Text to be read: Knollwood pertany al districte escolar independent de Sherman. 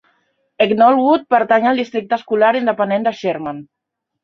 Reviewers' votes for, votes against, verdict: 2, 1, accepted